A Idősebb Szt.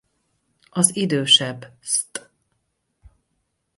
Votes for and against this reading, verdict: 2, 2, rejected